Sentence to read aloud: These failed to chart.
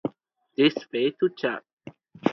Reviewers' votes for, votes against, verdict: 0, 2, rejected